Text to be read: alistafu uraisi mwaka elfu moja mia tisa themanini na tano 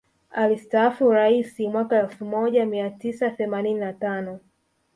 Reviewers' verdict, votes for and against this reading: rejected, 1, 2